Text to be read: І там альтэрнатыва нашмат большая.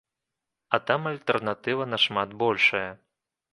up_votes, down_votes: 0, 2